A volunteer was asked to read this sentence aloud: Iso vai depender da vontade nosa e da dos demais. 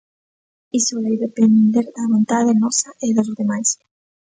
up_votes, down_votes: 1, 2